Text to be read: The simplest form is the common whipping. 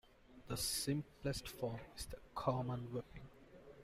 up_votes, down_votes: 2, 1